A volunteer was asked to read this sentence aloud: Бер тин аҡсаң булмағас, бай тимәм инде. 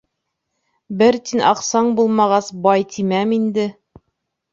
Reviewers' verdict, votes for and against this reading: accepted, 2, 0